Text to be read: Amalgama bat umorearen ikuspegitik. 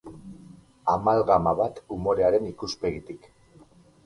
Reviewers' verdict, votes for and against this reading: accepted, 8, 0